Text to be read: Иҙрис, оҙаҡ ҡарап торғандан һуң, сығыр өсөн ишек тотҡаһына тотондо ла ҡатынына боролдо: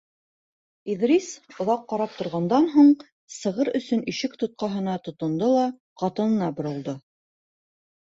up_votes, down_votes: 2, 0